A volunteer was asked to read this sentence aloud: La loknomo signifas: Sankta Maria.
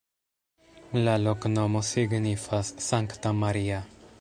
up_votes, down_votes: 1, 2